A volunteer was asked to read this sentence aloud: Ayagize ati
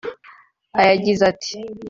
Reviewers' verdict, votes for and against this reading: rejected, 1, 2